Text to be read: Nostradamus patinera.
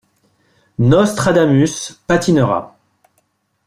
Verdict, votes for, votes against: accepted, 2, 0